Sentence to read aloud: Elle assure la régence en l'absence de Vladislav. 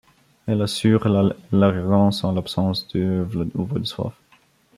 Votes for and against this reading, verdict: 0, 2, rejected